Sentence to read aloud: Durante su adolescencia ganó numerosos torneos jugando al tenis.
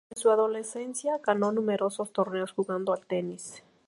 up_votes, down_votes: 0, 2